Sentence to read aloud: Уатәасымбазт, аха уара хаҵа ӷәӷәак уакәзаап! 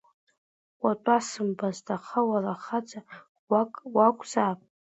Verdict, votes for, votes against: accepted, 2, 1